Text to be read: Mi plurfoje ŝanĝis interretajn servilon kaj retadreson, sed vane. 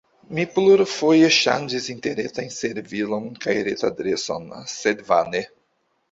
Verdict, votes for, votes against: rejected, 1, 2